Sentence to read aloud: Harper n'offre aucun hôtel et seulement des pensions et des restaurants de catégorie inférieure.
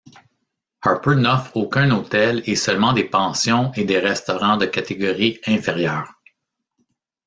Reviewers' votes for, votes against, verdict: 1, 2, rejected